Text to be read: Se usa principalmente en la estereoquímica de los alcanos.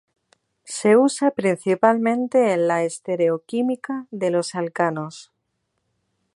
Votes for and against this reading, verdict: 0, 2, rejected